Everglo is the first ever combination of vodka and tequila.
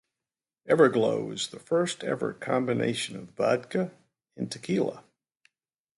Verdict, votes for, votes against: accepted, 2, 0